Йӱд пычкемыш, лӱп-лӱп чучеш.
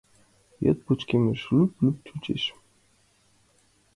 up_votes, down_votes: 2, 0